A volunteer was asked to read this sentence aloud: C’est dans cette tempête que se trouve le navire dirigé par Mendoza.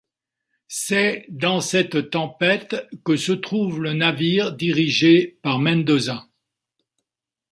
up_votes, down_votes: 2, 0